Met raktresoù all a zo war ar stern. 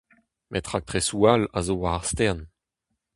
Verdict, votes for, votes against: accepted, 2, 0